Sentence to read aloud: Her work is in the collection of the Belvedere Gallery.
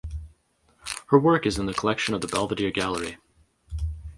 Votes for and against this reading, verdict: 2, 2, rejected